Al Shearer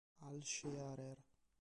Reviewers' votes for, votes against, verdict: 3, 2, accepted